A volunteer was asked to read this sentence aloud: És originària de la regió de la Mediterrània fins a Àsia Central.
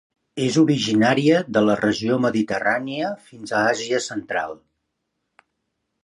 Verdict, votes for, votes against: rejected, 1, 2